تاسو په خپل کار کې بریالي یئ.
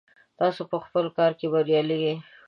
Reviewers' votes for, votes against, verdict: 5, 0, accepted